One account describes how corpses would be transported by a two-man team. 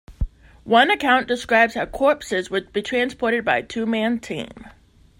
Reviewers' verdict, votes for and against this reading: accepted, 2, 0